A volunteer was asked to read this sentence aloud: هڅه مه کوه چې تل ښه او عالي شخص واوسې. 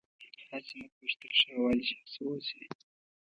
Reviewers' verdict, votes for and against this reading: rejected, 1, 2